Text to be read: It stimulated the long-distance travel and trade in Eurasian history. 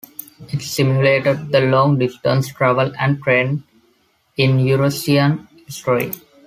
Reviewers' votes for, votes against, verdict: 1, 2, rejected